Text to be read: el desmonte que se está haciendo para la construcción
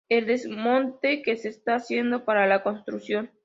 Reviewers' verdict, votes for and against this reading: accepted, 2, 1